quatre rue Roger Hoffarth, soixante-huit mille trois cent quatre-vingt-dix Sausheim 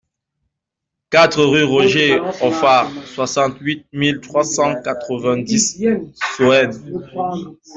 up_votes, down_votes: 1, 2